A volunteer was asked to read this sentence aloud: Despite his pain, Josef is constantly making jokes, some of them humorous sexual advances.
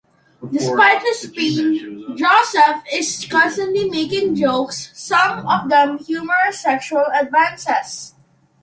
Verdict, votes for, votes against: accepted, 3, 0